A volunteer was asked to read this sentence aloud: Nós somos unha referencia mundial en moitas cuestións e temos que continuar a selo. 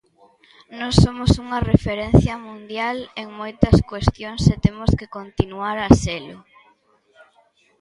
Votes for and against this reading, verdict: 0, 2, rejected